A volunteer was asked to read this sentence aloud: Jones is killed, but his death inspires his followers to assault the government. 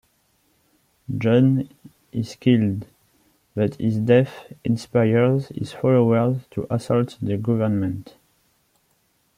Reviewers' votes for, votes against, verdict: 1, 2, rejected